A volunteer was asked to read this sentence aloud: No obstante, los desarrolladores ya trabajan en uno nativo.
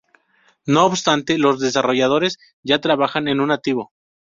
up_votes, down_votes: 0, 2